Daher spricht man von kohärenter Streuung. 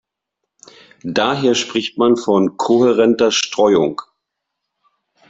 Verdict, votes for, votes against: accepted, 2, 0